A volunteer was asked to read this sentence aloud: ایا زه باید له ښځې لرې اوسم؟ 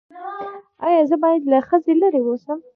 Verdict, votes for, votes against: rejected, 1, 2